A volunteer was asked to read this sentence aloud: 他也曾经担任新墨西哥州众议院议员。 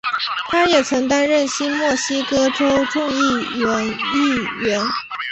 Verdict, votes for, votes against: rejected, 0, 2